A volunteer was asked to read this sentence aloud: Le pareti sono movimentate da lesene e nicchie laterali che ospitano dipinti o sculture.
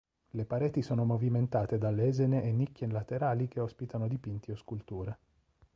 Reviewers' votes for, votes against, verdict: 1, 2, rejected